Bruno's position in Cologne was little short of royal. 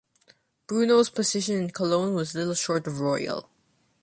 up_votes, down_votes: 2, 0